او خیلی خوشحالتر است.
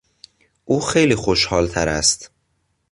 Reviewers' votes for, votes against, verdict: 2, 0, accepted